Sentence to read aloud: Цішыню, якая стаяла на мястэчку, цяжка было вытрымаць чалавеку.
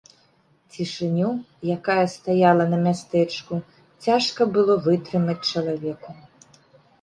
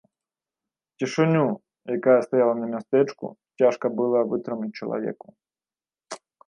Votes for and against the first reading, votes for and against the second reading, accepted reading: 2, 0, 0, 2, first